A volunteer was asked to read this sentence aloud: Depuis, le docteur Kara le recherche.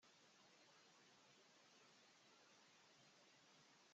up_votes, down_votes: 0, 2